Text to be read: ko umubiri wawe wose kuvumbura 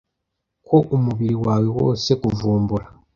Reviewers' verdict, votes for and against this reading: accepted, 2, 0